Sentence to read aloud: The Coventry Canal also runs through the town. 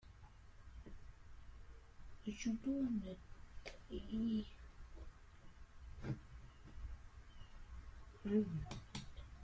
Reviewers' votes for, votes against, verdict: 0, 2, rejected